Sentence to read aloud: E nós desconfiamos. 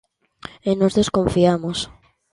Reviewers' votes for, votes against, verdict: 2, 0, accepted